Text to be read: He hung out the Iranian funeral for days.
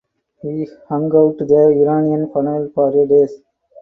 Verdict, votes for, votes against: rejected, 0, 4